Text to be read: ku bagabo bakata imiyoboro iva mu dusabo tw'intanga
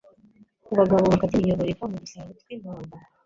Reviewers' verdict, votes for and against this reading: rejected, 0, 3